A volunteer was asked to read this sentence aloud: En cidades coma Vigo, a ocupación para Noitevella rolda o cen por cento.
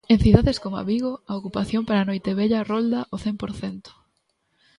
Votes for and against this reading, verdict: 0, 2, rejected